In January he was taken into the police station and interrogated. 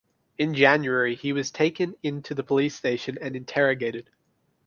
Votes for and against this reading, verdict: 3, 0, accepted